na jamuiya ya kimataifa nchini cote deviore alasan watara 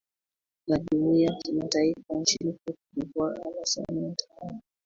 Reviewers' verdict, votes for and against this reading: rejected, 2, 3